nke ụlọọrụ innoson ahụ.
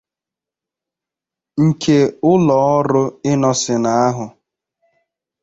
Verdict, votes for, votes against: accepted, 2, 0